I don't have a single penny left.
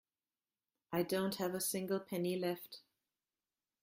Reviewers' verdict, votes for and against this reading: accepted, 2, 0